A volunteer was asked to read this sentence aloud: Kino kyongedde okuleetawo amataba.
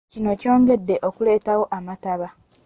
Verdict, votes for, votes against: rejected, 0, 2